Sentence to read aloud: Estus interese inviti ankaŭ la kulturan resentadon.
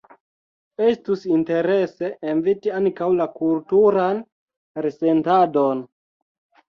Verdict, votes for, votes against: rejected, 1, 2